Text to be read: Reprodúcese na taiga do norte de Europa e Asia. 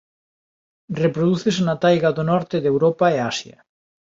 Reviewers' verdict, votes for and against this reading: accepted, 7, 0